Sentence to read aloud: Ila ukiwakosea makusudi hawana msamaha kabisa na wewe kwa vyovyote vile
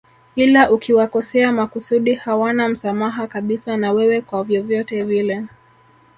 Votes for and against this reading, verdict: 3, 1, accepted